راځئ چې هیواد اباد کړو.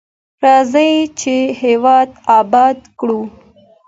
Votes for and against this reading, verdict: 2, 0, accepted